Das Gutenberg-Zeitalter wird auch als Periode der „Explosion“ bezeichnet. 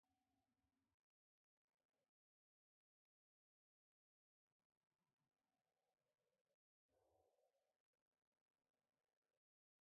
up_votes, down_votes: 0, 2